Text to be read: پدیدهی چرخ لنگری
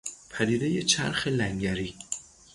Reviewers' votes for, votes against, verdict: 0, 3, rejected